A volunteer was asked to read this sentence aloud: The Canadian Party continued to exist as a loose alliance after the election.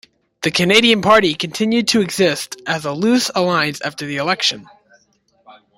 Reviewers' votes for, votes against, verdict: 2, 0, accepted